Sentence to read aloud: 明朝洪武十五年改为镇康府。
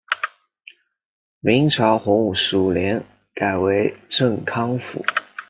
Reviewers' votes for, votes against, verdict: 2, 0, accepted